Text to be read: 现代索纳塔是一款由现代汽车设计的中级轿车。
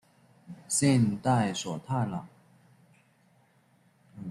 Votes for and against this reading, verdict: 0, 2, rejected